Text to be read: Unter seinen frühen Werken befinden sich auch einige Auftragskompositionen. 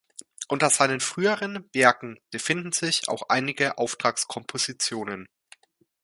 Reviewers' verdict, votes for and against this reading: rejected, 0, 2